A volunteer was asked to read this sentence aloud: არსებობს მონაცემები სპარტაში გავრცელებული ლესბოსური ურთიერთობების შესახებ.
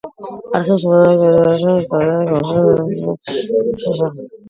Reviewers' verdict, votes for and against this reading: rejected, 0, 2